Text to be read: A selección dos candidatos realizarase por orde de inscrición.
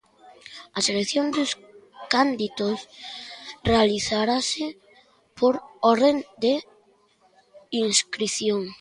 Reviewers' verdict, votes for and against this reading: rejected, 0, 2